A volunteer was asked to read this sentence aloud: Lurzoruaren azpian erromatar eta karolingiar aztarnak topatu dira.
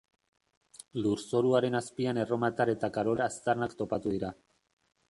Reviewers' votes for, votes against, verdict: 0, 2, rejected